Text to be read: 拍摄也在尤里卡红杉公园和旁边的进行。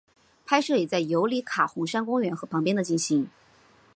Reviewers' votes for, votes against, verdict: 3, 2, accepted